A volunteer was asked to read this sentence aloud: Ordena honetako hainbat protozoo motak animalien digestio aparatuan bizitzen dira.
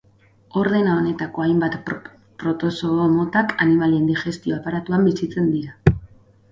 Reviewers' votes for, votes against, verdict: 0, 4, rejected